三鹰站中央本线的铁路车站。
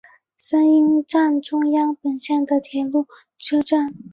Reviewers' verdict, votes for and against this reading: accepted, 10, 0